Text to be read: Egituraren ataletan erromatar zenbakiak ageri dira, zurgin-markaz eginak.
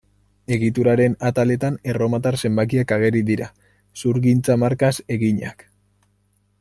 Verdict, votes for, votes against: rejected, 0, 2